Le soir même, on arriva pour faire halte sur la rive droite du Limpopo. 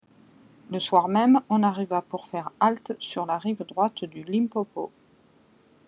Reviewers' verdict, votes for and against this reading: accepted, 2, 0